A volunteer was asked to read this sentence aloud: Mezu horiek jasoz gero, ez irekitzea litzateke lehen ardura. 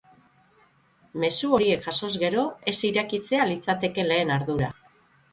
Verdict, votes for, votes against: rejected, 3, 6